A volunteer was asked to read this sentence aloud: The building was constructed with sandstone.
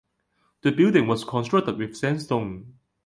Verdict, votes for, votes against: accepted, 2, 0